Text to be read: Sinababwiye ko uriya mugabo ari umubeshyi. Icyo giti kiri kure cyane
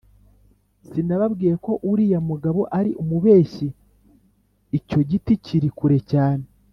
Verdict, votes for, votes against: accepted, 2, 0